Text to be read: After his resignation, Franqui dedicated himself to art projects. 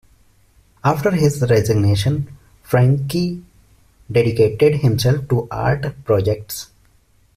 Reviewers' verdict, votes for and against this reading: accepted, 2, 1